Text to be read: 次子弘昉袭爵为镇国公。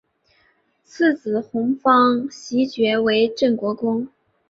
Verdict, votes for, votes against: accepted, 2, 0